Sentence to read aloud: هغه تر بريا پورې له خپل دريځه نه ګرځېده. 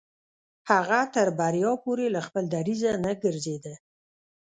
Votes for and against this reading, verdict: 1, 2, rejected